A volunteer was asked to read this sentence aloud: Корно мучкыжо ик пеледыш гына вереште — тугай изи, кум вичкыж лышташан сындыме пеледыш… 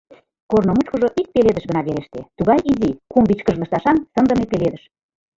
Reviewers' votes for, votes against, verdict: 1, 2, rejected